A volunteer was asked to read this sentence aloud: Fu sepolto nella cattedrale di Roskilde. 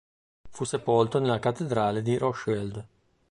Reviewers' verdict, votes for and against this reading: rejected, 1, 2